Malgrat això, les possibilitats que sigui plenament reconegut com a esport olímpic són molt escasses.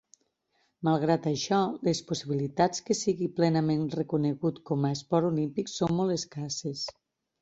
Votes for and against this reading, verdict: 4, 0, accepted